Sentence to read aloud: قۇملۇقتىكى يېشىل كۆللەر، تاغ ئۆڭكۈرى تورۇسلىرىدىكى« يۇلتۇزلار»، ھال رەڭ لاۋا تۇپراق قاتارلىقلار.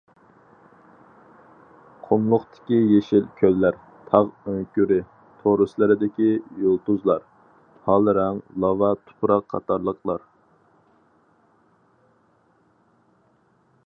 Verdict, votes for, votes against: accepted, 4, 0